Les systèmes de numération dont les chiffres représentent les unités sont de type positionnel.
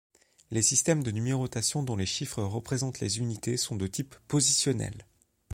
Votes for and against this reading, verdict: 0, 2, rejected